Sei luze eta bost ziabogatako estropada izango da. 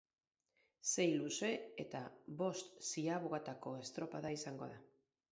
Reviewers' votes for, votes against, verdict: 10, 0, accepted